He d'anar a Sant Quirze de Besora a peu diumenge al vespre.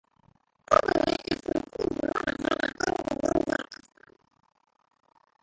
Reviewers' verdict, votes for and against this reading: rejected, 0, 2